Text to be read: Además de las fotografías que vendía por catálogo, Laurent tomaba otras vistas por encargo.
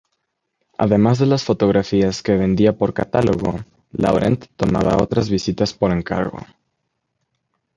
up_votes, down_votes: 0, 2